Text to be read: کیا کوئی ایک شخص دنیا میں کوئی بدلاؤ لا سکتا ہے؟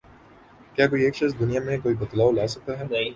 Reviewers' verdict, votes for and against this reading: accepted, 6, 0